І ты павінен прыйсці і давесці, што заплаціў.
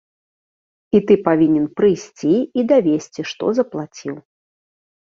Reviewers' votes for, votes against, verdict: 2, 0, accepted